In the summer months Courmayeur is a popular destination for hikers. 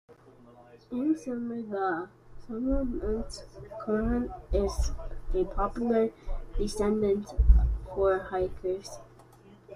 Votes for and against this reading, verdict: 1, 2, rejected